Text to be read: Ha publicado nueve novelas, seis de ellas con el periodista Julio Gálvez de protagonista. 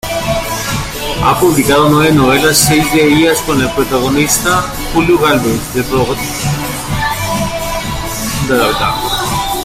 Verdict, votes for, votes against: rejected, 0, 2